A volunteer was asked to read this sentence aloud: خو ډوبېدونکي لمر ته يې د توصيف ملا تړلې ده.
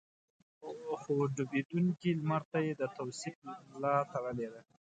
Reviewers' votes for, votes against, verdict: 3, 2, accepted